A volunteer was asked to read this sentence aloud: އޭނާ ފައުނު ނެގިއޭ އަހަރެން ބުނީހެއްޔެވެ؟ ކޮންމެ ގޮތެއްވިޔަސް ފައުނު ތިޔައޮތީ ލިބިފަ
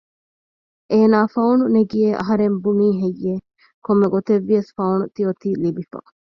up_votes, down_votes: 2, 0